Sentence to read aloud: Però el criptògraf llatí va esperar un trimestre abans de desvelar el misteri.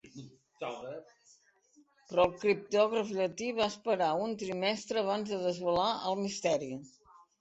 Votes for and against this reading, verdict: 2, 3, rejected